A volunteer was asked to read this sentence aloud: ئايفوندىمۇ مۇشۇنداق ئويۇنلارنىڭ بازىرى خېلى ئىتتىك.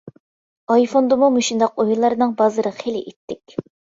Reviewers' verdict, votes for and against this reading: accepted, 2, 0